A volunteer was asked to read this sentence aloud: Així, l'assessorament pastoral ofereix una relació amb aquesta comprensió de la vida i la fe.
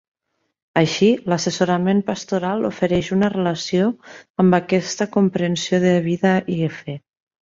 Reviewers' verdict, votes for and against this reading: rejected, 1, 3